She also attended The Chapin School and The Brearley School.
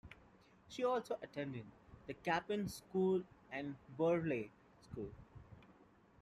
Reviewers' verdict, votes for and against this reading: rejected, 0, 2